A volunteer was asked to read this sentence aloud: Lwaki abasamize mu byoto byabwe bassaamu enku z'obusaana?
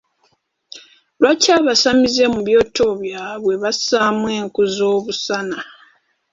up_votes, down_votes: 0, 3